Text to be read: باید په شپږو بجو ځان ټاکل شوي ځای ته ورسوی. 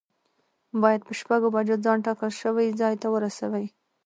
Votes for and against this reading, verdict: 2, 1, accepted